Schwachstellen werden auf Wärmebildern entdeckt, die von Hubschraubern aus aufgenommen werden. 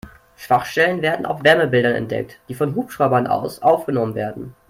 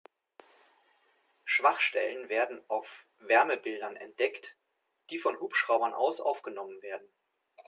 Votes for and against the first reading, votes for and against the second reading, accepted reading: 0, 2, 2, 0, second